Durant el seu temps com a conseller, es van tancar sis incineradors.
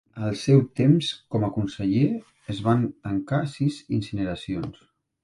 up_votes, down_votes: 0, 2